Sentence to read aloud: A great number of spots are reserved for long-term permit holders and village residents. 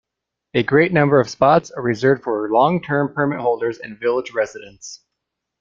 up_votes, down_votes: 2, 0